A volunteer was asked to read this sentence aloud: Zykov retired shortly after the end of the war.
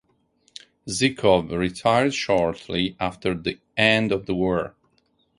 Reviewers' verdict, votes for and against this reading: accepted, 4, 0